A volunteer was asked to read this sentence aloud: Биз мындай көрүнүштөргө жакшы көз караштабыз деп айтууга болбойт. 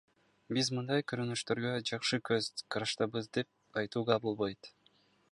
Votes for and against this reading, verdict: 1, 2, rejected